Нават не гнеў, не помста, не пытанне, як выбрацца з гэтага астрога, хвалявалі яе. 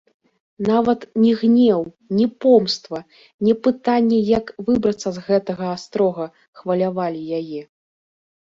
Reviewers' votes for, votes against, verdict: 1, 2, rejected